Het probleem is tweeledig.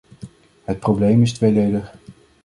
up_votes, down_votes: 2, 1